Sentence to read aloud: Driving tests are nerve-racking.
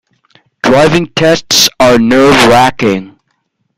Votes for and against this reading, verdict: 0, 2, rejected